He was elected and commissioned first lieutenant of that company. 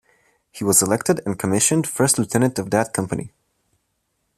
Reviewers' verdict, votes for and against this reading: rejected, 1, 2